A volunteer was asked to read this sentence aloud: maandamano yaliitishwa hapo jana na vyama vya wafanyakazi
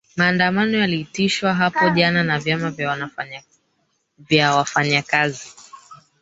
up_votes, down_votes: 1, 3